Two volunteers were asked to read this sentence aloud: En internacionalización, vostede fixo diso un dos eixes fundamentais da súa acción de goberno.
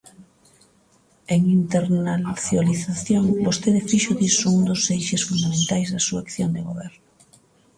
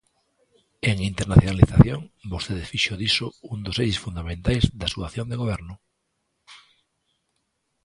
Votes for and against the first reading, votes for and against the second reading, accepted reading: 0, 2, 2, 0, second